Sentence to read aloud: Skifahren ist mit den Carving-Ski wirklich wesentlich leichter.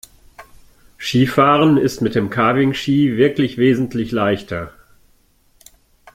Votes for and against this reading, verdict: 1, 2, rejected